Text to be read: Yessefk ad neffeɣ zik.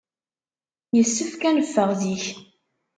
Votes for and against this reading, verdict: 2, 0, accepted